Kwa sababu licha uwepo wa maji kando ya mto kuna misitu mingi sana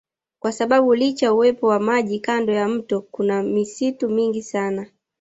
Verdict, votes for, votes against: accepted, 2, 0